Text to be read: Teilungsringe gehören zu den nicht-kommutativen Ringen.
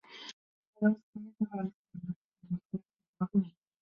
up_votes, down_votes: 0, 3